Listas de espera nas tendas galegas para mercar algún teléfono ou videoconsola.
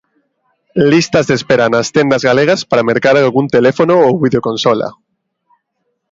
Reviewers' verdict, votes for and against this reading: accepted, 2, 0